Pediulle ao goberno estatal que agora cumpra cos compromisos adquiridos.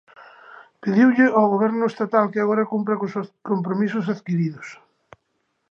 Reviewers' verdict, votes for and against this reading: rejected, 0, 2